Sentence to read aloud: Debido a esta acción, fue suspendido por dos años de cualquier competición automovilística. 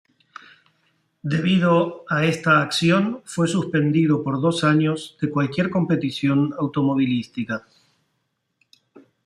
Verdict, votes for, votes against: accepted, 2, 0